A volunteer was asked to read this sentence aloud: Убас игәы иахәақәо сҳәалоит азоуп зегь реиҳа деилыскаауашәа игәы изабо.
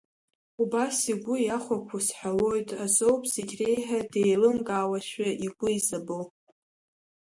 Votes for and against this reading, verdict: 0, 2, rejected